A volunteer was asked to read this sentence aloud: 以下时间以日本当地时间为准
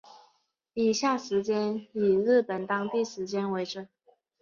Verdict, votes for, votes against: accepted, 4, 0